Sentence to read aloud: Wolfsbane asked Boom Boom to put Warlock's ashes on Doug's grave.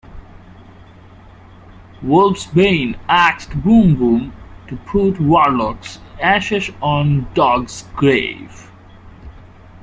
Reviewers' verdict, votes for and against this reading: rejected, 1, 2